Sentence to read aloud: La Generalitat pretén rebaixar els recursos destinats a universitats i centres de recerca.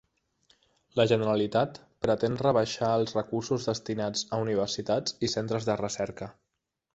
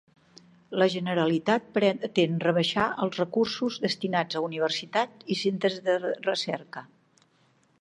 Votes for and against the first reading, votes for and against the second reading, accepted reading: 3, 0, 0, 2, first